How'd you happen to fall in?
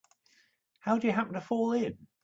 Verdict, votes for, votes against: accepted, 2, 0